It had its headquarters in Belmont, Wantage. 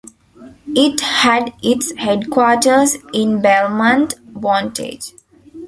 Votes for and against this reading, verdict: 1, 2, rejected